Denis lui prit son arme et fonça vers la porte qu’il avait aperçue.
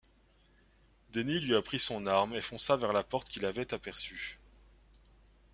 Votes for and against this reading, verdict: 0, 2, rejected